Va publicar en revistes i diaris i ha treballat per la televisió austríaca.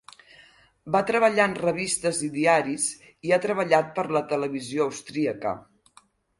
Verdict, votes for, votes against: rejected, 2, 4